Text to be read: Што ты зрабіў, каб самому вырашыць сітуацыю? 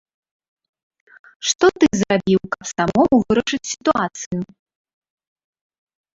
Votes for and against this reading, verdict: 0, 2, rejected